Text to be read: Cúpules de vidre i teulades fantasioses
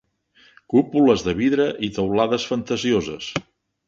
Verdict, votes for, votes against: accepted, 3, 0